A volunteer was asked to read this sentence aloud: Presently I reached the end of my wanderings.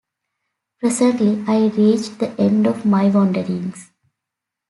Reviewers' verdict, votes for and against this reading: accepted, 2, 0